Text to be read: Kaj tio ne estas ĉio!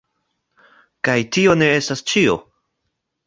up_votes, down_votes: 0, 2